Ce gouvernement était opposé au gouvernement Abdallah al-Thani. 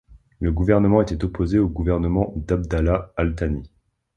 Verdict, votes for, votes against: rejected, 0, 2